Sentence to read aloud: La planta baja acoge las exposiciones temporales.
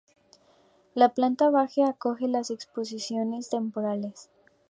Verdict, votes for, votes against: accepted, 4, 0